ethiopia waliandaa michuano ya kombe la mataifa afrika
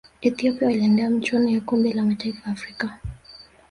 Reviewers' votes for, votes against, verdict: 2, 1, accepted